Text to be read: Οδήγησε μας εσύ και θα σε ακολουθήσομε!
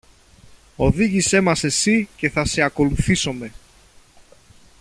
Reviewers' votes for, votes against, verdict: 2, 0, accepted